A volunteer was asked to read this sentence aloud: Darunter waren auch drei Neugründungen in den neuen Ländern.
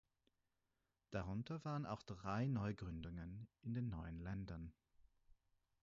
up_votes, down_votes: 4, 0